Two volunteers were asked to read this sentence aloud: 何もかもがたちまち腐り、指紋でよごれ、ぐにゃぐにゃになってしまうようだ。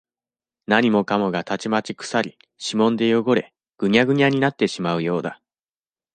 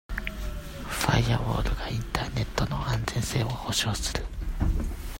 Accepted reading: first